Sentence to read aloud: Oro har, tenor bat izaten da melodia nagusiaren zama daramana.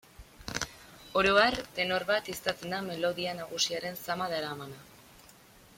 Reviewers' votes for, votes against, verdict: 2, 0, accepted